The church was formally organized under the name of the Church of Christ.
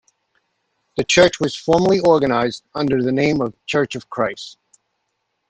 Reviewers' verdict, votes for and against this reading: rejected, 0, 2